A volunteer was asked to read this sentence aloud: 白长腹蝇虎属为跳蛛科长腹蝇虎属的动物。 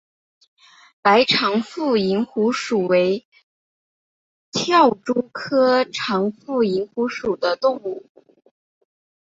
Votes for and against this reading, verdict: 2, 0, accepted